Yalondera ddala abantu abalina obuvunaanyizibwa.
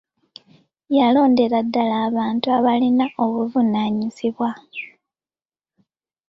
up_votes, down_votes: 0, 2